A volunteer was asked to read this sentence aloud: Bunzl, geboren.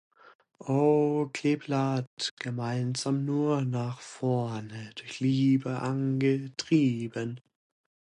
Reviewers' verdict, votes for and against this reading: rejected, 0, 2